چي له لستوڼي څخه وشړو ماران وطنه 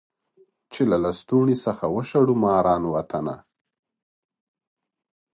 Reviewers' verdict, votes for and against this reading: rejected, 1, 2